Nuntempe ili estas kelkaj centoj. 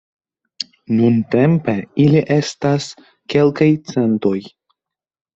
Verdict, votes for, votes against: accepted, 2, 0